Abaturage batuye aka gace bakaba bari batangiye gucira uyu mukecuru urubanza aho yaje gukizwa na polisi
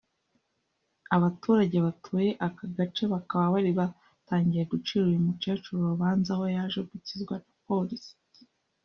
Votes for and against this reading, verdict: 0, 2, rejected